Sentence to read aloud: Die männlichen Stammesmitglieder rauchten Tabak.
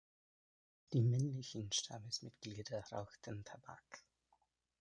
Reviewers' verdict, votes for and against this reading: accepted, 2, 0